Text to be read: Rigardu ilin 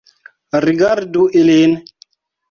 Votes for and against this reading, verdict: 2, 0, accepted